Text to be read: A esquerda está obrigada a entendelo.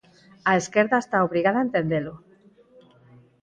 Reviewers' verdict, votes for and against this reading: accepted, 4, 0